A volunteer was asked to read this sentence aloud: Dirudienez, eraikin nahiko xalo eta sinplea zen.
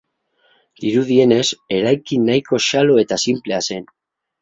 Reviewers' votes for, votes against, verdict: 10, 0, accepted